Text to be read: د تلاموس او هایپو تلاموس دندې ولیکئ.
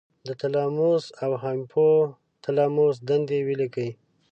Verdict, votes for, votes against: accepted, 2, 0